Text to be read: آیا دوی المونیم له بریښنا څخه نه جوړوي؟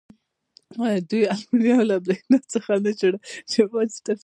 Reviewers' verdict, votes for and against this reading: rejected, 1, 2